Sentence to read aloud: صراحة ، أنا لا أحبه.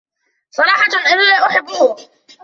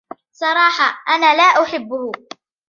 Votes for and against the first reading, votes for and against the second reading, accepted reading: 0, 2, 2, 0, second